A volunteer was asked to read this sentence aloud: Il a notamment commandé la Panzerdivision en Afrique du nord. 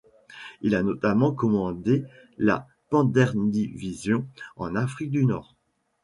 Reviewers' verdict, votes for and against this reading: rejected, 1, 2